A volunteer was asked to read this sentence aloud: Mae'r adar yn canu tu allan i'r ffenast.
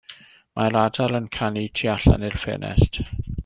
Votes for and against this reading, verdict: 1, 2, rejected